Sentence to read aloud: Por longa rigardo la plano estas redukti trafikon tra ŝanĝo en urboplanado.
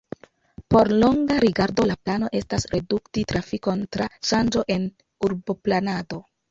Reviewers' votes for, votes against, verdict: 2, 0, accepted